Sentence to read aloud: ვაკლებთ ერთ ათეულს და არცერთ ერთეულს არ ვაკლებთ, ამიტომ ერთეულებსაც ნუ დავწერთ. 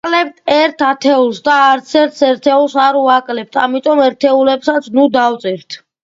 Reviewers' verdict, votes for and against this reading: accepted, 2, 0